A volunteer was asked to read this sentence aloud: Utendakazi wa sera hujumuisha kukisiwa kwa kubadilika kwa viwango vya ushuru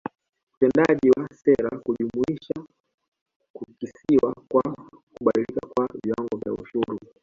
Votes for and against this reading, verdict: 2, 0, accepted